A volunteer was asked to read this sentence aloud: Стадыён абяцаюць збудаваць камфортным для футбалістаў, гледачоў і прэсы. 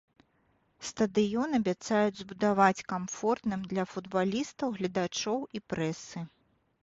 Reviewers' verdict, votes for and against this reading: accepted, 2, 0